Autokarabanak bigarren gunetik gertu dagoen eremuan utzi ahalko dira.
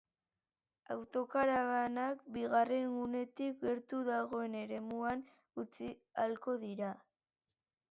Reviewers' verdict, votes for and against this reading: accepted, 2, 0